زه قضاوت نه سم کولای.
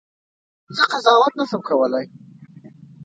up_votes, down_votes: 0, 2